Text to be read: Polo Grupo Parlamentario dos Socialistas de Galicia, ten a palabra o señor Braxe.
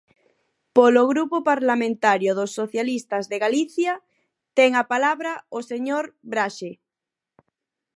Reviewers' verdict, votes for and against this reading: accepted, 4, 0